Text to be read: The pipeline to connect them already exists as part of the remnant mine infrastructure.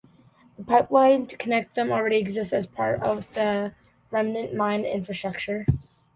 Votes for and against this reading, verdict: 2, 0, accepted